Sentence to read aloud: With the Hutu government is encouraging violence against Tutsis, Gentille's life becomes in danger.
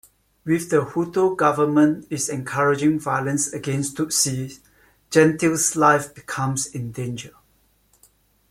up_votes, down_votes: 2, 1